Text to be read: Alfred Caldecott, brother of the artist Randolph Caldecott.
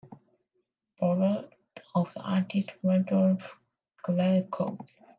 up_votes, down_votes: 0, 2